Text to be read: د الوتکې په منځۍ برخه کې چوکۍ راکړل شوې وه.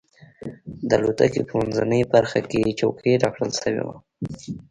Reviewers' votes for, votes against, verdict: 2, 0, accepted